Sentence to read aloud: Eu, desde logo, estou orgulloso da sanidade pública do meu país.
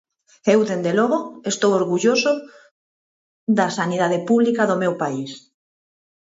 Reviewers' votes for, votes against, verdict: 2, 4, rejected